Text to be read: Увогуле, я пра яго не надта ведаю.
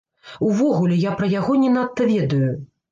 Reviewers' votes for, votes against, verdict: 0, 2, rejected